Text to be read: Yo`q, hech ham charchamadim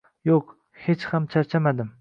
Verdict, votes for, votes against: accepted, 2, 0